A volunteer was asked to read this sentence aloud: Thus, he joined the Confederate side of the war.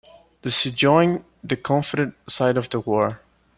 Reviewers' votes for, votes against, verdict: 0, 2, rejected